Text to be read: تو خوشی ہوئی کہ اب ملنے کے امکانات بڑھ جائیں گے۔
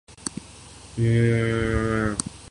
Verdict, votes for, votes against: rejected, 0, 2